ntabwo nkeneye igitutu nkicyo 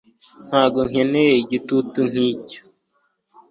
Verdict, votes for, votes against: accepted, 2, 0